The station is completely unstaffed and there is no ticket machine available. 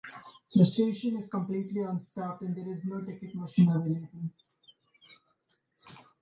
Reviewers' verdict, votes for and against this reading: accepted, 2, 0